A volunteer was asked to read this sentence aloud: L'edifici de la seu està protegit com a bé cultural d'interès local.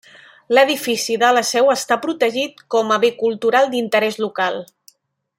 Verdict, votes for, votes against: accepted, 2, 0